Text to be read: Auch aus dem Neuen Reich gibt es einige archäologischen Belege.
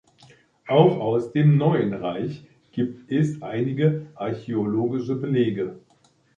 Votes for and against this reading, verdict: 0, 2, rejected